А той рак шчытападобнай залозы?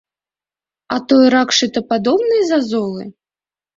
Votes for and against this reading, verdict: 0, 2, rejected